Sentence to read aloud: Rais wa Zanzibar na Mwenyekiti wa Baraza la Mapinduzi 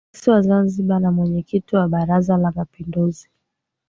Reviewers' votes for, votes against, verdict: 2, 0, accepted